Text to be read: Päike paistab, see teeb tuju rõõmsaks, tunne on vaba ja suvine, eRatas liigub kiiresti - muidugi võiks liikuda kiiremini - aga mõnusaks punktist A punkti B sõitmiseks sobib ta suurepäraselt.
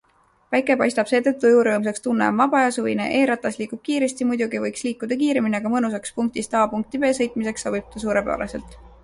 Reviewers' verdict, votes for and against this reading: accepted, 2, 0